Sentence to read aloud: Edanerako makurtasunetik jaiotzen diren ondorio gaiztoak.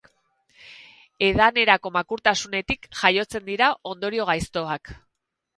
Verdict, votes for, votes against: rejected, 2, 4